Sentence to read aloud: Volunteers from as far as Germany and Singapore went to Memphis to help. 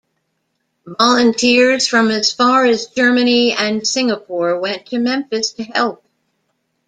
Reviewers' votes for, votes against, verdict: 1, 2, rejected